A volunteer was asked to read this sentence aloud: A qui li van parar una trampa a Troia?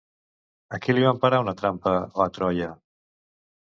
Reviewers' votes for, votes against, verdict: 0, 2, rejected